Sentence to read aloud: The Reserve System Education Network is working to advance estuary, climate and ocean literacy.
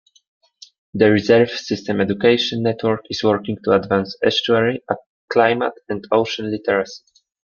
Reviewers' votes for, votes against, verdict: 0, 2, rejected